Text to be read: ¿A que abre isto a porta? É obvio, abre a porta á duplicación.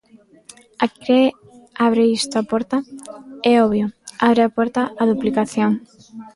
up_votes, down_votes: 2, 0